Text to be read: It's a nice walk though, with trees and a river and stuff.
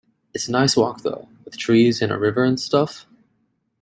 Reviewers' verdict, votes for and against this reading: accepted, 2, 1